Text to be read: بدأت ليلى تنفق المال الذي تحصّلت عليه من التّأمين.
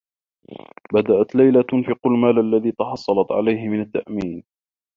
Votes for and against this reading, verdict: 1, 2, rejected